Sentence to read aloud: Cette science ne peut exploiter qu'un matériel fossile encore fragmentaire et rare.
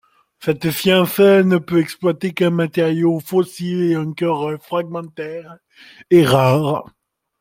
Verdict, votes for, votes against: rejected, 1, 2